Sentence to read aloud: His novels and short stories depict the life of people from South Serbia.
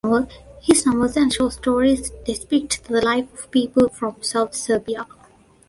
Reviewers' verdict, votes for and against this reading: accepted, 2, 1